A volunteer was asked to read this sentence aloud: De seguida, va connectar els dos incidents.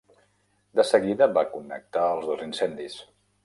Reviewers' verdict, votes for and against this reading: rejected, 0, 2